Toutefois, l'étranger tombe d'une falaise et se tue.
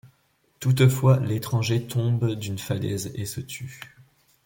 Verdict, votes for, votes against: accepted, 2, 0